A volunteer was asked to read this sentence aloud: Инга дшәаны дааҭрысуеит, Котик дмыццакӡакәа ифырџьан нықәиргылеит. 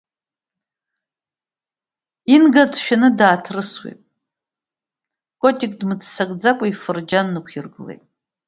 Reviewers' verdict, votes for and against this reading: accepted, 2, 0